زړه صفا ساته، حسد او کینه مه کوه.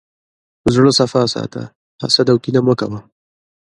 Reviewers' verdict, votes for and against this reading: accepted, 2, 0